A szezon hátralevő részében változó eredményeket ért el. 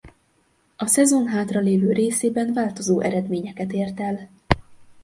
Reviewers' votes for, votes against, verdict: 0, 2, rejected